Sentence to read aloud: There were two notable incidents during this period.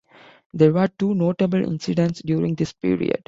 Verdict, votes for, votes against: accepted, 2, 0